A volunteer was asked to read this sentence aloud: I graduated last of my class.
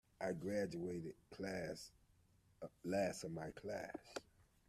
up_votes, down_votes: 0, 2